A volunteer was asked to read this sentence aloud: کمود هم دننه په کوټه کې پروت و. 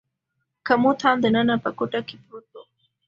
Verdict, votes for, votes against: accepted, 2, 0